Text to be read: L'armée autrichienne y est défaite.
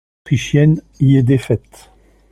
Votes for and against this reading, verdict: 1, 2, rejected